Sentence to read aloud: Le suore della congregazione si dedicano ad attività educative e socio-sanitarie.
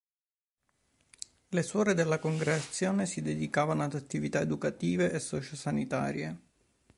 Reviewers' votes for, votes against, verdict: 1, 2, rejected